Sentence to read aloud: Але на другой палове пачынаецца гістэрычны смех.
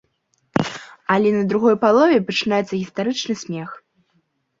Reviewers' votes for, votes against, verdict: 1, 2, rejected